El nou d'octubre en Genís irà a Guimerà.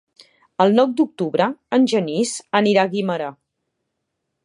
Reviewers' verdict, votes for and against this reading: accepted, 2, 1